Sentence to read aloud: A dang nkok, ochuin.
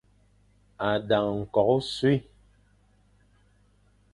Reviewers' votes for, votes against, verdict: 2, 0, accepted